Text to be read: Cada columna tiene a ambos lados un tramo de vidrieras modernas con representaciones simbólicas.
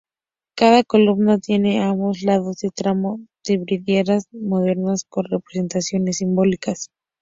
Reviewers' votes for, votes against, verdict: 0, 2, rejected